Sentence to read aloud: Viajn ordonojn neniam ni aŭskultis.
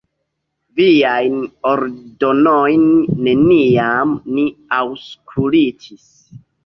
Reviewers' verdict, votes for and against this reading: rejected, 1, 3